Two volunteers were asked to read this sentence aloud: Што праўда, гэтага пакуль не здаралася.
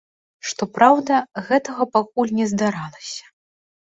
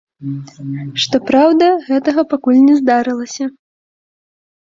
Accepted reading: first